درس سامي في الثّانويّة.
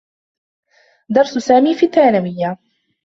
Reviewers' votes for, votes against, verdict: 1, 2, rejected